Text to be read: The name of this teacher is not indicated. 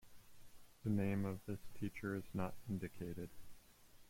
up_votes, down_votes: 0, 2